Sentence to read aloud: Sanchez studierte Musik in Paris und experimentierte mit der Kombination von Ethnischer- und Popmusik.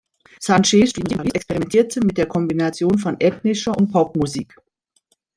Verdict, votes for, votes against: rejected, 0, 2